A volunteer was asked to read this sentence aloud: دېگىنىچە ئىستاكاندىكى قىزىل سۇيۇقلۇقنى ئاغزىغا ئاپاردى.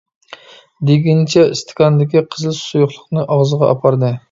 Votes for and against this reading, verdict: 3, 0, accepted